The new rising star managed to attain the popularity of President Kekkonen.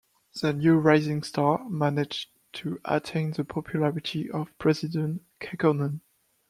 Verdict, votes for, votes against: accepted, 2, 0